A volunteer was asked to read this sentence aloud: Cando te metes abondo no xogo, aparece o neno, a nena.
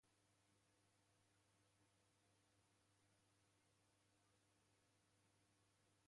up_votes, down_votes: 0, 2